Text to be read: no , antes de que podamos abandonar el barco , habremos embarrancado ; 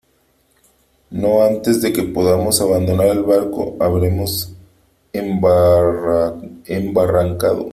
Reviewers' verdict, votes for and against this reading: rejected, 1, 3